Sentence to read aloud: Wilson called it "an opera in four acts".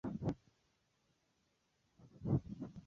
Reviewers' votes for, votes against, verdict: 0, 2, rejected